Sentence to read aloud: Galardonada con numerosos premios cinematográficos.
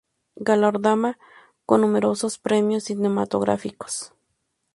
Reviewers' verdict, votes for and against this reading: rejected, 0, 2